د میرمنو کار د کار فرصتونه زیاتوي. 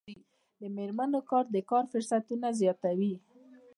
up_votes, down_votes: 2, 0